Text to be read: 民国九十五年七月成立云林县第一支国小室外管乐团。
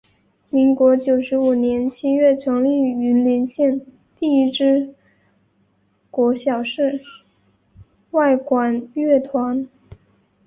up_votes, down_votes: 5, 1